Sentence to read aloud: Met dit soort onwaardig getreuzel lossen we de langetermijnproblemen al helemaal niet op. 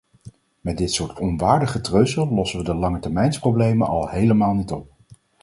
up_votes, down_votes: 0, 4